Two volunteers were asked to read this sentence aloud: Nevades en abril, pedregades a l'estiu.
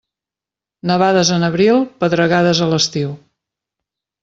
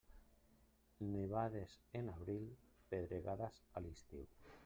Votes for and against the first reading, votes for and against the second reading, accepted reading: 2, 0, 0, 2, first